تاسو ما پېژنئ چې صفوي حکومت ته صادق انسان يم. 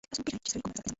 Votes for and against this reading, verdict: 0, 2, rejected